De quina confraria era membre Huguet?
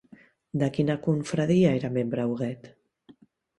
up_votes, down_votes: 2, 0